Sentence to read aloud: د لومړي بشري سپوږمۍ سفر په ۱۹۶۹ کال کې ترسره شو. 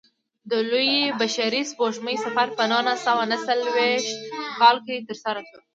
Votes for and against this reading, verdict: 0, 2, rejected